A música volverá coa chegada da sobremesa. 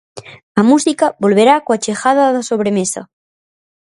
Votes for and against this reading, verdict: 4, 0, accepted